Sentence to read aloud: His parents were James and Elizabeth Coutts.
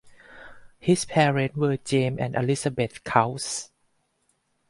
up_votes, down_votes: 4, 2